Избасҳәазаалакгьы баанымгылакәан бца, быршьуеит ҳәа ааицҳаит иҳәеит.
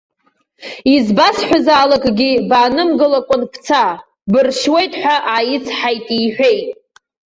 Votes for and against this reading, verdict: 2, 0, accepted